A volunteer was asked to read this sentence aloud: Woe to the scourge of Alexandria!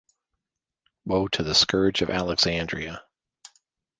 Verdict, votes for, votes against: accepted, 2, 0